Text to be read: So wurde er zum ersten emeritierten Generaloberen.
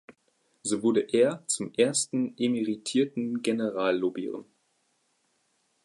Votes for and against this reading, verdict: 0, 2, rejected